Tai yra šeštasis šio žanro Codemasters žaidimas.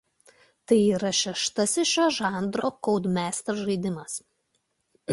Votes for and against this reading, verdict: 2, 0, accepted